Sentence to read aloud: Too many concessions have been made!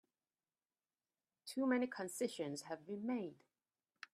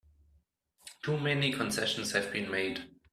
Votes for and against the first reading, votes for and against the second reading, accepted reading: 1, 2, 2, 0, second